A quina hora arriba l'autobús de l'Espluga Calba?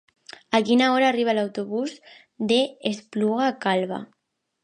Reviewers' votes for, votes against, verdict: 1, 2, rejected